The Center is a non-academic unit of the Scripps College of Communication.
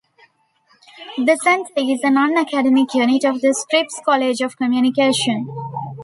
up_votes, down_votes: 2, 0